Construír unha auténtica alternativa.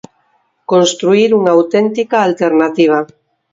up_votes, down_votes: 4, 0